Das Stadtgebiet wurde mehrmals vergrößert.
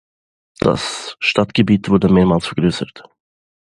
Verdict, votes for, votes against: accepted, 2, 0